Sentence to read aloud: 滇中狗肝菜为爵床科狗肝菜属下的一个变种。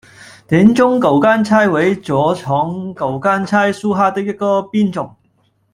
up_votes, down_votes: 1, 2